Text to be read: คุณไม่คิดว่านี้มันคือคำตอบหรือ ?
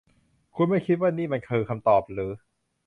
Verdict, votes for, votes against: accepted, 2, 0